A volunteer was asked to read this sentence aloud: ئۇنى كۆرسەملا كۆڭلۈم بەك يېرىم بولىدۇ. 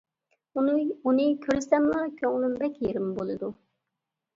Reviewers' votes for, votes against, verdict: 2, 1, accepted